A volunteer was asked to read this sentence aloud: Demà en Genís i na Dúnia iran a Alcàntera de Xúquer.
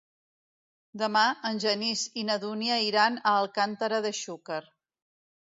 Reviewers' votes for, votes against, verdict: 2, 0, accepted